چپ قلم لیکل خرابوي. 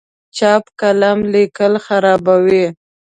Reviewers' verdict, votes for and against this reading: accepted, 2, 0